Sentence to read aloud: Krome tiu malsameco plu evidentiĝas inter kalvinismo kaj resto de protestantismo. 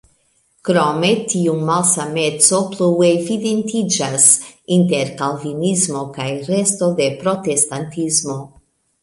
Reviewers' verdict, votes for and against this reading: rejected, 0, 2